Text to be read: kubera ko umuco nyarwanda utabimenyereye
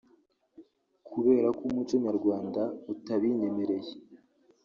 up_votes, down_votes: 1, 2